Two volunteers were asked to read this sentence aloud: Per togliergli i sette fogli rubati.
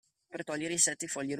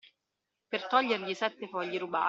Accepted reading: second